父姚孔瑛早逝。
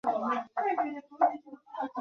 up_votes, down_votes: 0, 2